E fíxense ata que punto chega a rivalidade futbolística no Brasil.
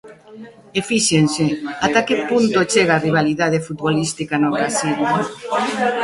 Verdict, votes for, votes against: rejected, 1, 2